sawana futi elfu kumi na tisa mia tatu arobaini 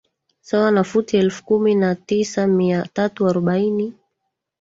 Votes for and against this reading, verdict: 2, 1, accepted